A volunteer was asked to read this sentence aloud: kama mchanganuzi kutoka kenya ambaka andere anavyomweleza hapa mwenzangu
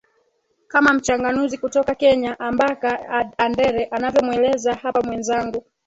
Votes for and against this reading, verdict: 2, 3, rejected